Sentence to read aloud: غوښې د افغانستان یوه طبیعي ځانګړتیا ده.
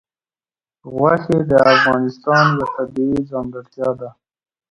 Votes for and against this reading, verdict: 2, 1, accepted